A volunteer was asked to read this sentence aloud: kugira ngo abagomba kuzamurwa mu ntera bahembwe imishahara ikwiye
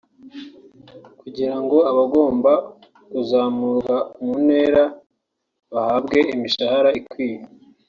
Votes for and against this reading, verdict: 0, 2, rejected